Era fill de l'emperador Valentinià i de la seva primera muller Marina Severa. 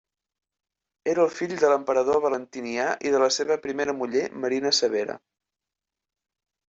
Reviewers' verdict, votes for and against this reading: accepted, 2, 1